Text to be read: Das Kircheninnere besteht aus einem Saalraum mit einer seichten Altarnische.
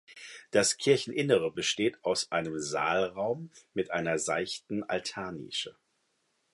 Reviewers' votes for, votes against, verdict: 2, 0, accepted